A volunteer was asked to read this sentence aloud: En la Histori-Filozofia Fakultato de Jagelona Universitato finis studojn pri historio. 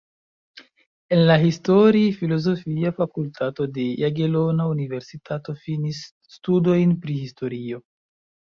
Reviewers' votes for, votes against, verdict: 2, 1, accepted